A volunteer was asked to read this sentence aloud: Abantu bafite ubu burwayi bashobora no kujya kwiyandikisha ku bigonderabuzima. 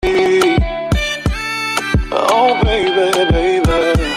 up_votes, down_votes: 0, 2